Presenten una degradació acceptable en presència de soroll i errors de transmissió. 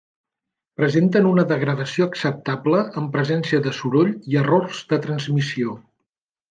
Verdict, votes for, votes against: accepted, 3, 0